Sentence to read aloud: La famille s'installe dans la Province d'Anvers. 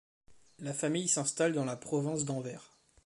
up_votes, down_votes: 0, 2